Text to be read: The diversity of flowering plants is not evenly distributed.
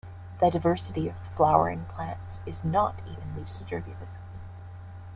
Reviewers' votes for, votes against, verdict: 1, 2, rejected